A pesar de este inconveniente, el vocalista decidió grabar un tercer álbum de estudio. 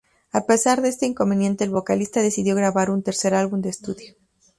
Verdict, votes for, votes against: rejected, 0, 2